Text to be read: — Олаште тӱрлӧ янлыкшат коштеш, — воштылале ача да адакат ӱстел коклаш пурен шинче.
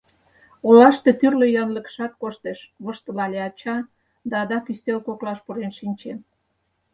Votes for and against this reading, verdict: 2, 4, rejected